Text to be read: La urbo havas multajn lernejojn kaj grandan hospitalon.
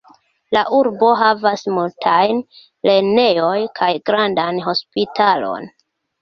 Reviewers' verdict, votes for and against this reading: rejected, 1, 2